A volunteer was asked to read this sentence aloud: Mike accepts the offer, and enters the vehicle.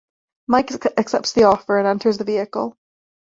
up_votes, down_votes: 0, 2